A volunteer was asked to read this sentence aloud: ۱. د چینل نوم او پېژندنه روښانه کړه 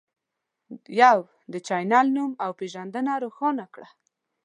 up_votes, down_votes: 0, 2